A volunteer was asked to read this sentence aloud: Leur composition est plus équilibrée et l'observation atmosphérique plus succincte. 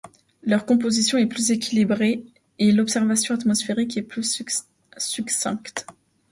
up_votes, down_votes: 0, 2